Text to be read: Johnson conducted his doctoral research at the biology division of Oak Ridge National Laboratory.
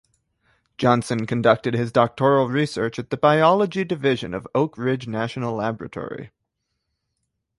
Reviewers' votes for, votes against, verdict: 2, 0, accepted